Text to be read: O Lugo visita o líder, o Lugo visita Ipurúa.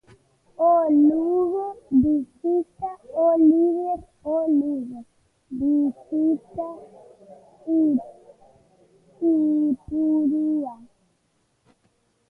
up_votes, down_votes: 0, 2